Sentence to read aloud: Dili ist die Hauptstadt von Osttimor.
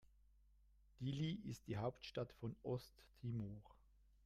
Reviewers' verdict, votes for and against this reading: rejected, 1, 2